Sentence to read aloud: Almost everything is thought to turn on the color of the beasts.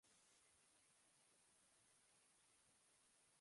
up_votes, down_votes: 0, 2